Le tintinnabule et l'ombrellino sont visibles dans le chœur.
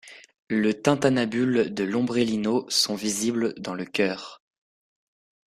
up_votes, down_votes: 0, 2